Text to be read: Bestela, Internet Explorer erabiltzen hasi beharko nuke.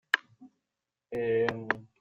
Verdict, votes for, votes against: rejected, 0, 2